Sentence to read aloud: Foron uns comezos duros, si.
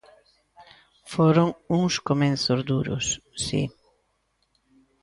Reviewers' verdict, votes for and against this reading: rejected, 0, 2